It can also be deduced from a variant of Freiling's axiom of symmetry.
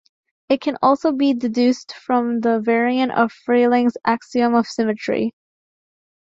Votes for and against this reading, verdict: 1, 2, rejected